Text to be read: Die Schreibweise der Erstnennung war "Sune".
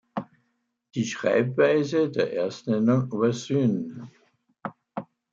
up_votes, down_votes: 0, 2